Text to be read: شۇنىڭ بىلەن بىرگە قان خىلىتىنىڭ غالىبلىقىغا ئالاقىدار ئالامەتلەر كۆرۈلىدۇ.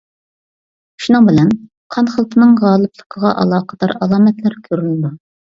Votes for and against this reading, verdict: 0, 2, rejected